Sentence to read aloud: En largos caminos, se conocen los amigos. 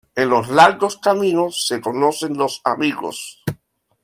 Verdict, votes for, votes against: rejected, 1, 2